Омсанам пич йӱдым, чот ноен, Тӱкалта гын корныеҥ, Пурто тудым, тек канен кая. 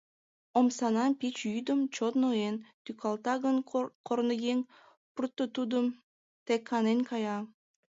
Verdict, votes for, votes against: accepted, 2, 1